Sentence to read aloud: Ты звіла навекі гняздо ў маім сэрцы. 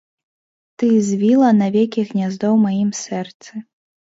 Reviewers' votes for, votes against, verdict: 2, 0, accepted